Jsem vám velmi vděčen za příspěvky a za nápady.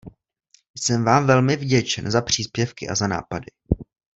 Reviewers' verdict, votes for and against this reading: accepted, 2, 0